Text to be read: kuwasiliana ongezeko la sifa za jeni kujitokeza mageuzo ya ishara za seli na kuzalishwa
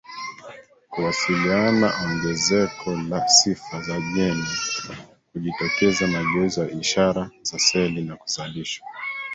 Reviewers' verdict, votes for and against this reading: rejected, 1, 2